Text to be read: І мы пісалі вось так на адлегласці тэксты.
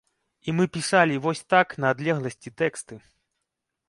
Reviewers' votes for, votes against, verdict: 2, 0, accepted